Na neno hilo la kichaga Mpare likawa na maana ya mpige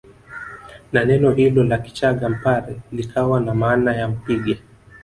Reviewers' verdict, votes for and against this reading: rejected, 0, 2